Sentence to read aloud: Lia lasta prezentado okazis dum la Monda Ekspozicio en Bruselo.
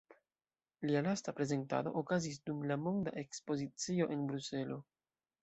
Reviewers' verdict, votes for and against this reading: accepted, 2, 0